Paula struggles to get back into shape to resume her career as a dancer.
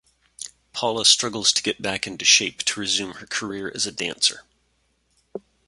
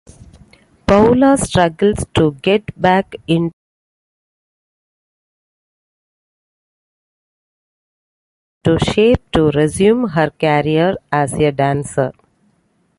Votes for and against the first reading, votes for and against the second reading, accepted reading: 2, 0, 0, 2, first